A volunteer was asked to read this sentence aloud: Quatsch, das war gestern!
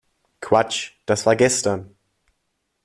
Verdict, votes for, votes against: accepted, 2, 0